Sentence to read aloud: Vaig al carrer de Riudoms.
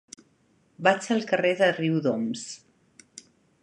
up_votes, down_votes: 5, 1